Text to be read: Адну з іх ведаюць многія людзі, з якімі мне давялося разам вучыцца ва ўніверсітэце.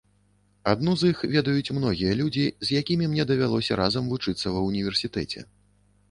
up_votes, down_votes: 2, 0